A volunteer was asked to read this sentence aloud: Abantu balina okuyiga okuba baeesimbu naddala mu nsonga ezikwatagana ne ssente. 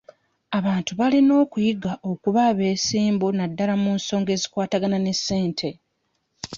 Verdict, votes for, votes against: rejected, 1, 2